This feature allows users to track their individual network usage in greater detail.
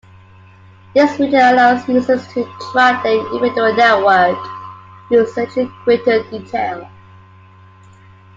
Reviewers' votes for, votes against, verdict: 2, 0, accepted